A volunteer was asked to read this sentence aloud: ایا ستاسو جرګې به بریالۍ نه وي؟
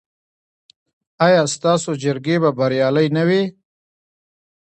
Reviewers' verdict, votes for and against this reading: rejected, 0, 2